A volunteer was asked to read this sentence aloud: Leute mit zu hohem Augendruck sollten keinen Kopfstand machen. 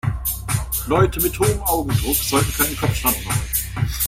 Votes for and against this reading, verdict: 0, 2, rejected